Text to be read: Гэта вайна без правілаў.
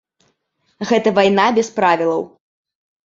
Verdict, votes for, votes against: rejected, 1, 2